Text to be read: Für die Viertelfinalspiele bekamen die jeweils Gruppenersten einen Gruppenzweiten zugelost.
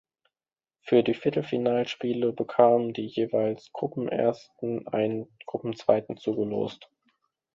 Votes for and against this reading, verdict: 2, 0, accepted